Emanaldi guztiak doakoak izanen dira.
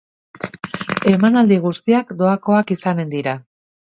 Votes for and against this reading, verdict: 3, 1, accepted